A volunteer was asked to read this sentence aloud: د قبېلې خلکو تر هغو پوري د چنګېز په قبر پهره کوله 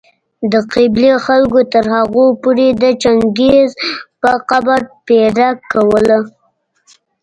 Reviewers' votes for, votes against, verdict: 0, 2, rejected